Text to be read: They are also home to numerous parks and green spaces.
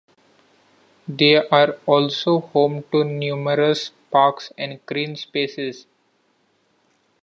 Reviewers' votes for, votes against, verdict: 2, 0, accepted